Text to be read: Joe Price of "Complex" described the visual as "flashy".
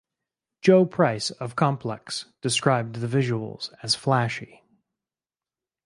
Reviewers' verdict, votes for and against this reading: rejected, 2, 2